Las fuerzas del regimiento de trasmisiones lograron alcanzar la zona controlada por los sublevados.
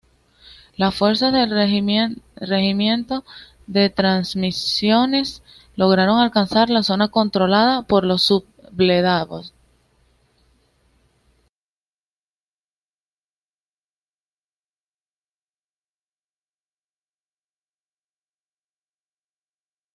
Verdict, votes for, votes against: rejected, 0, 2